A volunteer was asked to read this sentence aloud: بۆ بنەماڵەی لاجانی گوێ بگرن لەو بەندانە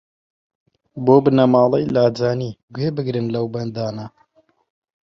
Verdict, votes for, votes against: accepted, 2, 0